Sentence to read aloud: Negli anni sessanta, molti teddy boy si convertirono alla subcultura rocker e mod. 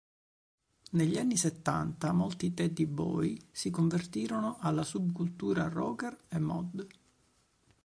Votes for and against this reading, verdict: 0, 2, rejected